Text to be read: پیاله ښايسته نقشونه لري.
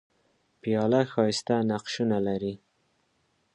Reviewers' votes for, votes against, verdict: 2, 0, accepted